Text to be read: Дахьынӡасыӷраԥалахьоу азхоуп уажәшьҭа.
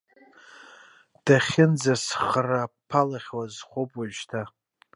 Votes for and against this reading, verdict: 1, 2, rejected